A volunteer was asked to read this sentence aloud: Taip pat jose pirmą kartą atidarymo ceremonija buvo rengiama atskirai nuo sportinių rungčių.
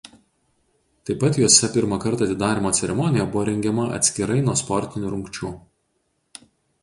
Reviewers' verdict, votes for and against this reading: accepted, 4, 0